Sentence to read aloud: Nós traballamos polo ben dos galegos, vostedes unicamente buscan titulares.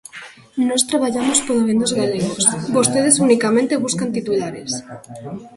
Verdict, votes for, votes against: rejected, 2, 3